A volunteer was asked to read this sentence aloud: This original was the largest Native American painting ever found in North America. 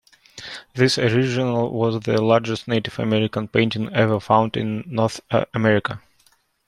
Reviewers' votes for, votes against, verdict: 2, 1, accepted